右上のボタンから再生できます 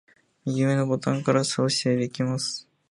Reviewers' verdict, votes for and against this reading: rejected, 1, 2